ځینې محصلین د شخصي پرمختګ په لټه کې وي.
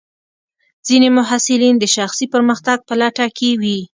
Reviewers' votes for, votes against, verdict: 2, 0, accepted